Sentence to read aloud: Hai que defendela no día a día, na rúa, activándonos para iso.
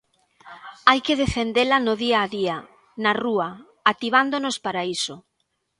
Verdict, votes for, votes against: accepted, 2, 0